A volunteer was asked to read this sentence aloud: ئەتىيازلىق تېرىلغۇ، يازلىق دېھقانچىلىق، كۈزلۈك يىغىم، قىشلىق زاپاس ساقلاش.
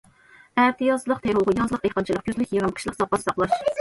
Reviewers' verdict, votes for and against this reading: rejected, 1, 2